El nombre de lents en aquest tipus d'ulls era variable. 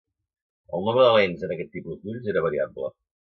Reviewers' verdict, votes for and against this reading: accepted, 2, 0